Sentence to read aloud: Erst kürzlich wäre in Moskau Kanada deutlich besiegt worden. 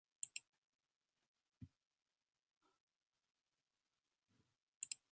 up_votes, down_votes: 0, 2